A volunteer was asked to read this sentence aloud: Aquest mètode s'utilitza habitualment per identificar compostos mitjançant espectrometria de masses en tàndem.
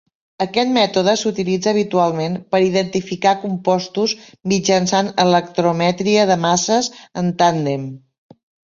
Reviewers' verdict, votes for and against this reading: rejected, 1, 2